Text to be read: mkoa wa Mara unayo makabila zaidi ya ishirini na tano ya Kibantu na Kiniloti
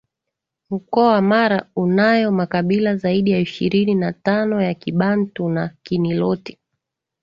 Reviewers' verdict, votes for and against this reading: accepted, 2, 0